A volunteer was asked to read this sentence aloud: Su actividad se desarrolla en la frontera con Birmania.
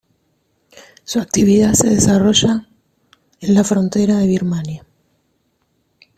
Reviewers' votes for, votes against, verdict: 0, 2, rejected